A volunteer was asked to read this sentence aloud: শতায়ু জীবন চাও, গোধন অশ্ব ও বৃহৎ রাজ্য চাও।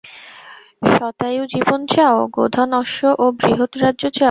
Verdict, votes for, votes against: accepted, 2, 0